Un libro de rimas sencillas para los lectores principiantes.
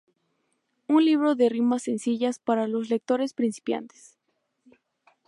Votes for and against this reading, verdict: 2, 0, accepted